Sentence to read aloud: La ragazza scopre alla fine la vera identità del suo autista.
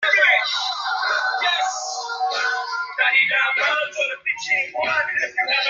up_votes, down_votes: 0, 2